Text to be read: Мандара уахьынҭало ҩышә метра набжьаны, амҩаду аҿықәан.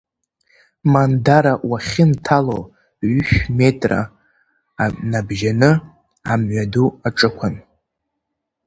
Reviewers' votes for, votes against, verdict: 1, 2, rejected